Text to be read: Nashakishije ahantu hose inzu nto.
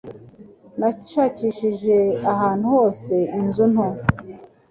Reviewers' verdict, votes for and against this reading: accepted, 2, 0